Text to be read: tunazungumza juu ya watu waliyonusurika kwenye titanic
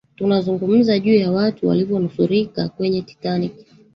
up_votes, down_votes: 1, 2